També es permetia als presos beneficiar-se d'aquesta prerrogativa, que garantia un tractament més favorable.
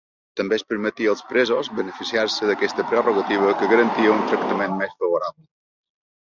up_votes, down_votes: 1, 2